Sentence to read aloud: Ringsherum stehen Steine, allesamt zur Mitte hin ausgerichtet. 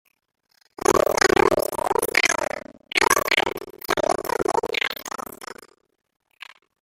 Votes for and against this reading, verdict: 0, 2, rejected